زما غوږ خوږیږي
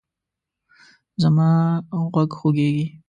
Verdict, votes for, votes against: accepted, 2, 0